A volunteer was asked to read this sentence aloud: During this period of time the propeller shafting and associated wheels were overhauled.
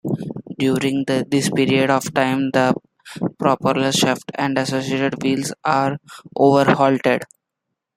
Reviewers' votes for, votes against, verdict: 2, 1, accepted